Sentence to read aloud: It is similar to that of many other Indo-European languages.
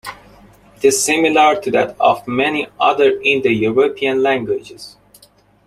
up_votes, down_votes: 2, 0